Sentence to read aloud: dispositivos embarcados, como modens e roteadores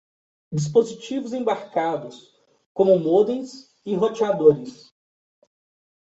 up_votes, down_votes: 2, 0